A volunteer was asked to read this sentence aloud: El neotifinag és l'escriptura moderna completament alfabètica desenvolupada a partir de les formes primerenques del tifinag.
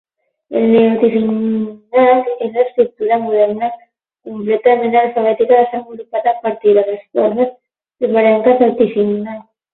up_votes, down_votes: 0, 12